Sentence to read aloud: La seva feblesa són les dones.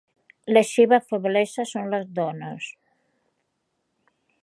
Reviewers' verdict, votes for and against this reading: accepted, 2, 0